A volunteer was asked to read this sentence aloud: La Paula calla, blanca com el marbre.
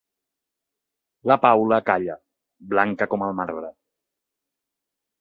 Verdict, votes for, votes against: accepted, 3, 0